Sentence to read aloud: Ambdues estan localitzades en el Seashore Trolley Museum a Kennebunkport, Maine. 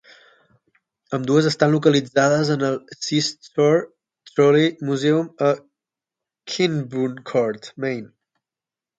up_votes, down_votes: 3, 6